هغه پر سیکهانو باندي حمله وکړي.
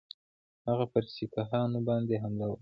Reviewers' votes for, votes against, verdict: 2, 0, accepted